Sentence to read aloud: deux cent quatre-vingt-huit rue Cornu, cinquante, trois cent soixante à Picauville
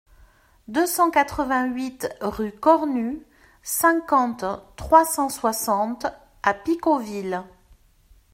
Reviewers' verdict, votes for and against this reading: accepted, 2, 0